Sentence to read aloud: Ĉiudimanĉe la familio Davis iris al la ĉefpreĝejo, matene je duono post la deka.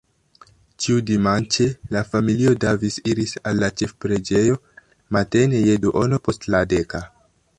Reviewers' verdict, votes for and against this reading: rejected, 0, 3